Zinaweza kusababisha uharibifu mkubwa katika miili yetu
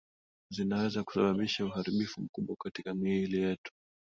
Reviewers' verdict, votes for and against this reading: rejected, 0, 2